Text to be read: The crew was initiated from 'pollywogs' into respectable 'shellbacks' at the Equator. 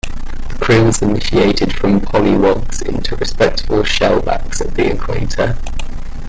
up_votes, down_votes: 0, 2